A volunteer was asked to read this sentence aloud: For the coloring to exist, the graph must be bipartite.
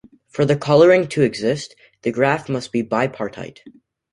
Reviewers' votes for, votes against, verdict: 2, 0, accepted